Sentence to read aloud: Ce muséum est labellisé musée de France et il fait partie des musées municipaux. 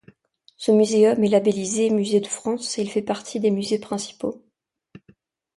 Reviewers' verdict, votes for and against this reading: rejected, 1, 2